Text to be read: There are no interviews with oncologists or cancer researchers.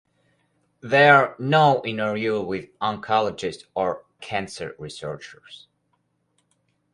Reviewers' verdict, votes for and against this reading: rejected, 0, 4